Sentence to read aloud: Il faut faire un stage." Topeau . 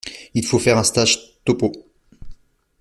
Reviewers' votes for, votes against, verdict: 2, 0, accepted